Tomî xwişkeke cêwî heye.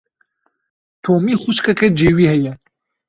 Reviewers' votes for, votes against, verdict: 2, 0, accepted